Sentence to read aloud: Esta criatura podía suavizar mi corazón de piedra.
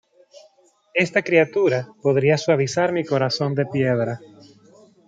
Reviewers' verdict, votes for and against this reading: rejected, 1, 2